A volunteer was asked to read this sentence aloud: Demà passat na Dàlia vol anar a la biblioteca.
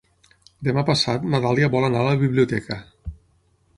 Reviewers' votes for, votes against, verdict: 9, 0, accepted